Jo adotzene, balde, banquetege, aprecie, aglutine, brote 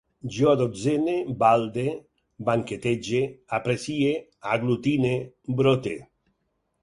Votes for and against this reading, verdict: 6, 0, accepted